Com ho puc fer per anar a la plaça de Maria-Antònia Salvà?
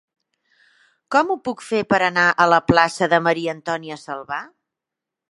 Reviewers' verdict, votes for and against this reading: accepted, 2, 0